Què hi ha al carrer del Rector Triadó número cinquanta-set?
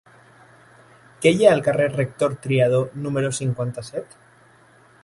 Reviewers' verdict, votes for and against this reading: rejected, 0, 2